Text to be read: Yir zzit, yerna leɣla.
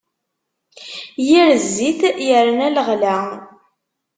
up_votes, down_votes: 2, 0